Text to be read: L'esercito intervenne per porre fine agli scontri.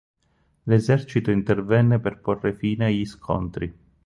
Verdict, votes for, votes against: rejected, 0, 4